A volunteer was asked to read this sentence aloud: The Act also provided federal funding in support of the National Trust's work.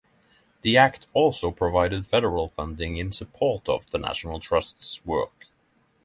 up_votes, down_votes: 6, 0